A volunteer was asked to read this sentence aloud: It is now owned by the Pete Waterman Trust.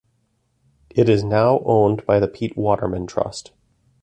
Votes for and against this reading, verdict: 2, 0, accepted